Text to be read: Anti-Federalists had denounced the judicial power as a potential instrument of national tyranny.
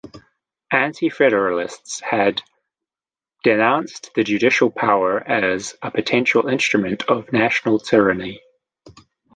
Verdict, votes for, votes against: accepted, 2, 0